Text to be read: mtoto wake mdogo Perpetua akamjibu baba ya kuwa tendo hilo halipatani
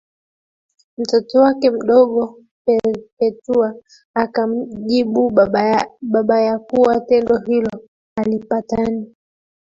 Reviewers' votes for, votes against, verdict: 0, 2, rejected